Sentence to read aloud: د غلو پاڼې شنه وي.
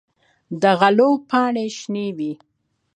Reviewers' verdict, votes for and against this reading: accepted, 2, 1